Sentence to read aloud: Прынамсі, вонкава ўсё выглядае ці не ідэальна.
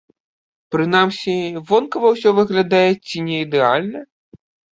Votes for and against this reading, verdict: 2, 0, accepted